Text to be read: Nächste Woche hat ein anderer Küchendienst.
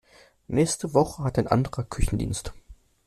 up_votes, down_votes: 2, 0